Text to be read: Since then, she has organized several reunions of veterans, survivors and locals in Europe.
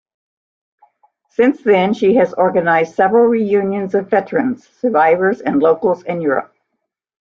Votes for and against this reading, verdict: 2, 0, accepted